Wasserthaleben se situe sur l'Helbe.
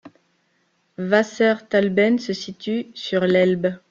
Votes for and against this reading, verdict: 2, 1, accepted